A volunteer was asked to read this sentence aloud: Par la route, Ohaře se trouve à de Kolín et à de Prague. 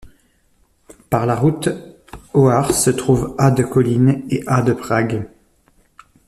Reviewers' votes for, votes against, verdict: 2, 0, accepted